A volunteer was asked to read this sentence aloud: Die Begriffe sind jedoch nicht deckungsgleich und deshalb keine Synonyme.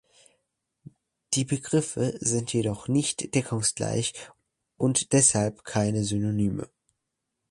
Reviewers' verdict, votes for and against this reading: accepted, 3, 0